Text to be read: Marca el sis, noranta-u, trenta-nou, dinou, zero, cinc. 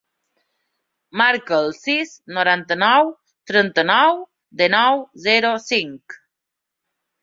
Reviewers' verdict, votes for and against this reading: rejected, 0, 2